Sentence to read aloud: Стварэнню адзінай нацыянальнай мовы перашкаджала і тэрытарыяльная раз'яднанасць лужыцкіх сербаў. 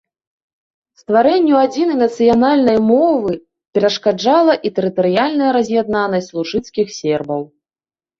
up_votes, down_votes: 2, 0